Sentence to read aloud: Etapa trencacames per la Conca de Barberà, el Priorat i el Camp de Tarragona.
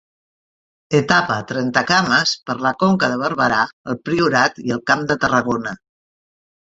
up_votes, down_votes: 1, 2